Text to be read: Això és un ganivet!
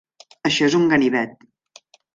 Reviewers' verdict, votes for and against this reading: accepted, 3, 0